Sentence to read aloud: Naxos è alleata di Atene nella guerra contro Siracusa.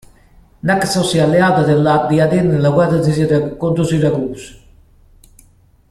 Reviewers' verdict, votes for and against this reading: rejected, 0, 2